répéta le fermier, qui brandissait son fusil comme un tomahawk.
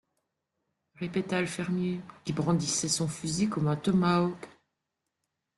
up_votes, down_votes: 1, 2